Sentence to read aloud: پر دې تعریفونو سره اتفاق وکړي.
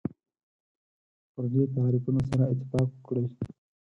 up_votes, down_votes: 0, 4